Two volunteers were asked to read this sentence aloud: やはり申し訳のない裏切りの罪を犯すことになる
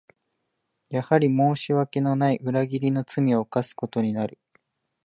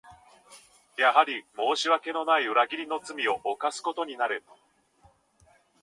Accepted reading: first